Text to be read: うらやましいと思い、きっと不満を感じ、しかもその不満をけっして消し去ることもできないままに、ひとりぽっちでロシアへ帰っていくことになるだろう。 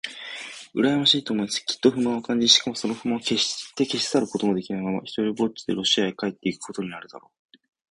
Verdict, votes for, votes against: rejected, 0, 2